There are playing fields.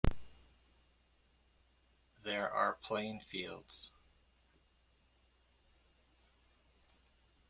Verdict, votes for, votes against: accepted, 2, 1